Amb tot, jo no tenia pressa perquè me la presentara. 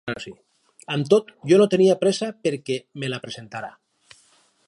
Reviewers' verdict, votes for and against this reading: rejected, 0, 4